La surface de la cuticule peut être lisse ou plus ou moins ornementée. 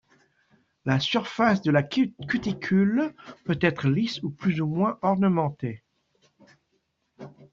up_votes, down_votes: 0, 2